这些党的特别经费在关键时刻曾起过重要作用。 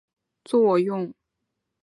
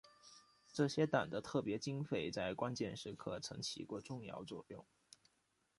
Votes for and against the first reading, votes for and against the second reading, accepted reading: 0, 3, 2, 0, second